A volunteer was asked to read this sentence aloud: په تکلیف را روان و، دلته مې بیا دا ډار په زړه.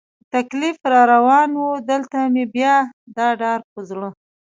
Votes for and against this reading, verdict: 0, 2, rejected